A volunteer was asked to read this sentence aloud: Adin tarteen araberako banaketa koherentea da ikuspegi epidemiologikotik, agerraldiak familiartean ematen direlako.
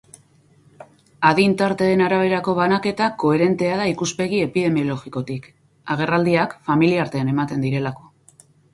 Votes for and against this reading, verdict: 4, 0, accepted